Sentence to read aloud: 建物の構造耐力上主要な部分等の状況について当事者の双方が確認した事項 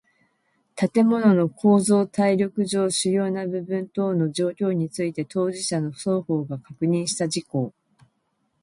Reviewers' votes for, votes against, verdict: 2, 1, accepted